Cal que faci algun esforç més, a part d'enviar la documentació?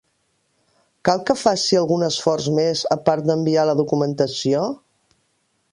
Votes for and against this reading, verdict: 3, 0, accepted